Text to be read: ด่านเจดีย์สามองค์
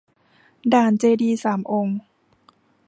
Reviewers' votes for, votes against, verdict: 2, 0, accepted